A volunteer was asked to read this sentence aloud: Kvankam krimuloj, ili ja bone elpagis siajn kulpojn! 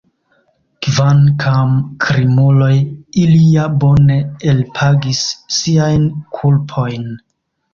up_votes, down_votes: 1, 2